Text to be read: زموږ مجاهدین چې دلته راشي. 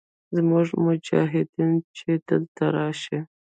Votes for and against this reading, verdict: 1, 2, rejected